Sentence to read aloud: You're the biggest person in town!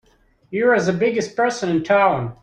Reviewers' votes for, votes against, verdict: 1, 2, rejected